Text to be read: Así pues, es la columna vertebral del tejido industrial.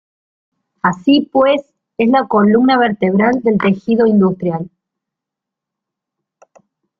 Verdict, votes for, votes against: rejected, 1, 2